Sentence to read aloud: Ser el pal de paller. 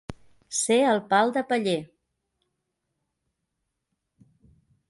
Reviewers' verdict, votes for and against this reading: accepted, 2, 0